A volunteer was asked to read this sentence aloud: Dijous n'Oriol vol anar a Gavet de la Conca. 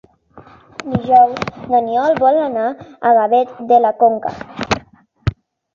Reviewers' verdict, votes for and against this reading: accepted, 2, 1